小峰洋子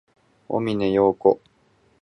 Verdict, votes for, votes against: accepted, 4, 0